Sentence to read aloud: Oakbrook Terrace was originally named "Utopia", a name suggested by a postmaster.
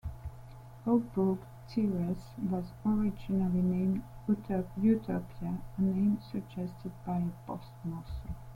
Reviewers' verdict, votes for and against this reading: rejected, 1, 2